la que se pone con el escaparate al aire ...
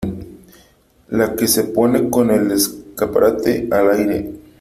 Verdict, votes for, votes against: accepted, 2, 1